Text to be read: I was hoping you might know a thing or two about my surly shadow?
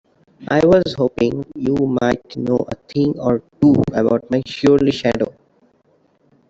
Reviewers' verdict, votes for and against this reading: rejected, 1, 2